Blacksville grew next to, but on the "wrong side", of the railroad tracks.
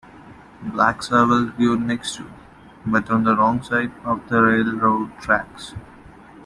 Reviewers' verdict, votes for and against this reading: rejected, 1, 2